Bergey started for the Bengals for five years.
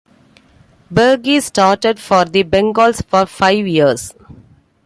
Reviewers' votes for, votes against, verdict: 2, 0, accepted